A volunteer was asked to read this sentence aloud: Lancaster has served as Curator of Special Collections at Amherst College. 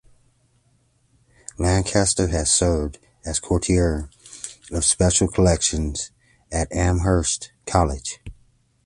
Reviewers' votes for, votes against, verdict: 1, 3, rejected